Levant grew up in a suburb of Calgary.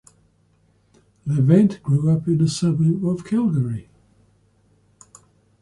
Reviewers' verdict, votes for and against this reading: accepted, 2, 0